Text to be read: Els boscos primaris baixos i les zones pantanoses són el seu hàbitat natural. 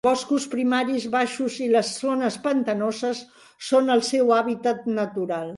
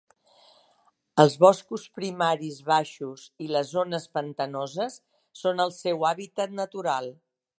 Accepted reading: second